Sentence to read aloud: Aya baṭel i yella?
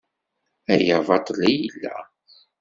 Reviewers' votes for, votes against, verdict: 2, 1, accepted